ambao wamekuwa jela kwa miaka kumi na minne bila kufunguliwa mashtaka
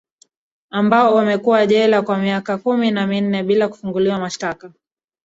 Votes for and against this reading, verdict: 1, 2, rejected